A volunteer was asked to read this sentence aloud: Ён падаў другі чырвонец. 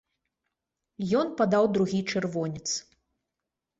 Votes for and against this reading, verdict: 2, 0, accepted